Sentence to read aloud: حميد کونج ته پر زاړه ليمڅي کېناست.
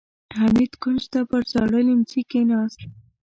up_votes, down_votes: 1, 2